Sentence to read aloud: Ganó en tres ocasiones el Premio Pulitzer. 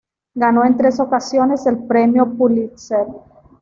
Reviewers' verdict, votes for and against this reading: accepted, 2, 0